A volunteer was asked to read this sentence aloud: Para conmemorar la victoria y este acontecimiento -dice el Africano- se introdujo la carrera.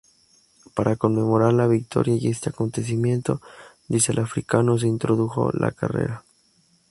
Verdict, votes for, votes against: accepted, 2, 0